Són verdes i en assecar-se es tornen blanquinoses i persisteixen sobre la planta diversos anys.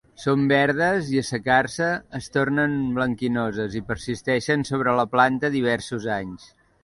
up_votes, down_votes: 1, 2